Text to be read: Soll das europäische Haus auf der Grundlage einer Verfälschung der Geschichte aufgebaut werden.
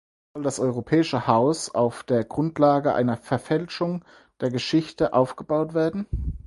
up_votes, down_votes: 0, 4